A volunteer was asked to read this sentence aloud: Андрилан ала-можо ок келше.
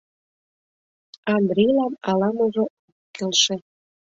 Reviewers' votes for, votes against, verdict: 0, 2, rejected